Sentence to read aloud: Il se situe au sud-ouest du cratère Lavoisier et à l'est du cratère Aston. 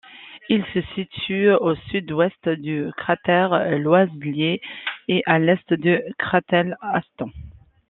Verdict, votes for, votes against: rejected, 0, 2